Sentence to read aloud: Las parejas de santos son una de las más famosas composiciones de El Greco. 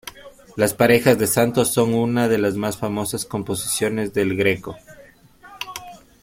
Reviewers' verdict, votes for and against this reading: accepted, 2, 0